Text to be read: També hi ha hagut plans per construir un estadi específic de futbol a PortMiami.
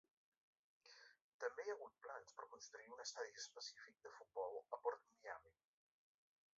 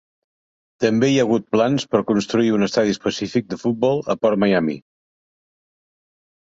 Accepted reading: second